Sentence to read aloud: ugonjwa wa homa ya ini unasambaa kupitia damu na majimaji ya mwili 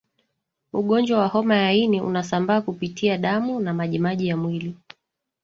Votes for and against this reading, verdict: 1, 2, rejected